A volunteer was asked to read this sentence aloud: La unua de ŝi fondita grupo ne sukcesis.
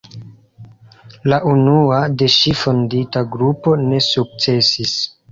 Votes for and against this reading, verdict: 2, 0, accepted